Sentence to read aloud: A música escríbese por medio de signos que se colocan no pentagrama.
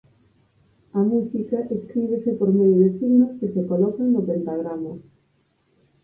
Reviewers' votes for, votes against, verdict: 2, 4, rejected